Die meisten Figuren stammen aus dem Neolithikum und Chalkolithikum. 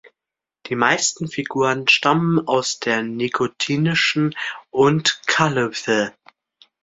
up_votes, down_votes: 0, 2